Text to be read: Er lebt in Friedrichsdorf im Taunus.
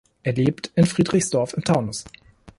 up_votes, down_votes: 1, 2